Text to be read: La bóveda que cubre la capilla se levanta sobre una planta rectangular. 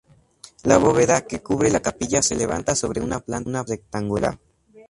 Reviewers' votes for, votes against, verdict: 2, 0, accepted